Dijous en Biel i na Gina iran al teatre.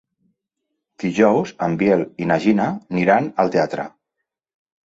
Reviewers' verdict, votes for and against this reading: rejected, 0, 2